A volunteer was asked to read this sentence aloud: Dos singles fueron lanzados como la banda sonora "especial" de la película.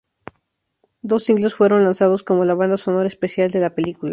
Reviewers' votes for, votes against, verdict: 2, 0, accepted